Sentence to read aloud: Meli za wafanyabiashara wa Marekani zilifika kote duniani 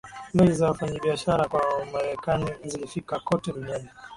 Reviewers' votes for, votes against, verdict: 2, 3, rejected